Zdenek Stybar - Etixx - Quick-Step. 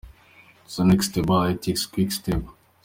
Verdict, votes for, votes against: accepted, 2, 1